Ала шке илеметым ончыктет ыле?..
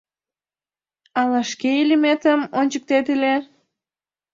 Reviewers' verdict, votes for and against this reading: accepted, 2, 1